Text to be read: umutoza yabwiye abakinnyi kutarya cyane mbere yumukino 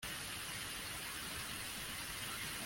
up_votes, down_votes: 0, 2